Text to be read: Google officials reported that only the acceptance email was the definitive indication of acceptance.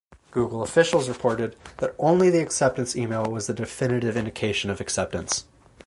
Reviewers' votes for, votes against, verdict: 4, 0, accepted